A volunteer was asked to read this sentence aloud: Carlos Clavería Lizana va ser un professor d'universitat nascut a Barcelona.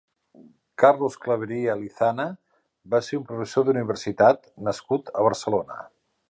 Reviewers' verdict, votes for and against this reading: accepted, 2, 0